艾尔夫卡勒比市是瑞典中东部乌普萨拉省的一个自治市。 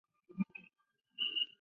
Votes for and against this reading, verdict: 0, 6, rejected